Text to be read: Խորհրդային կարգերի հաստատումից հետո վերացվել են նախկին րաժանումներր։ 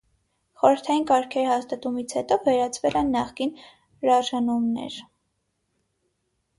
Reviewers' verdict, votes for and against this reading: accepted, 6, 3